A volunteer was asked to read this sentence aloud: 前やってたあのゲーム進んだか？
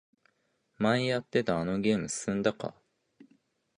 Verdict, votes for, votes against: accepted, 2, 0